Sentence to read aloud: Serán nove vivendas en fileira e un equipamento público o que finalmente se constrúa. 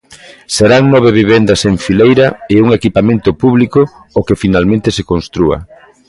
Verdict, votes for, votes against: accepted, 2, 0